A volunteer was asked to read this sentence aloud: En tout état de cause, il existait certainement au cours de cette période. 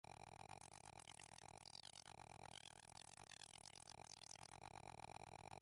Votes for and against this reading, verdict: 1, 2, rejected